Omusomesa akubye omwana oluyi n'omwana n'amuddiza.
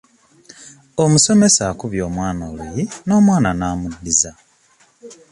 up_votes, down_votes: 2, 0